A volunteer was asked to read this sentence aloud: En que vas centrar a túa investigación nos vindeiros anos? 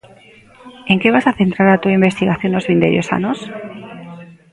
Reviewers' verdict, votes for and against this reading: rejected, 0, 2